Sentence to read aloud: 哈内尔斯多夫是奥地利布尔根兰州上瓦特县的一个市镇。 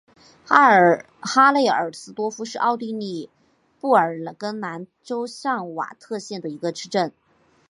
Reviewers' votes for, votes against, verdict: 3, 1, accepted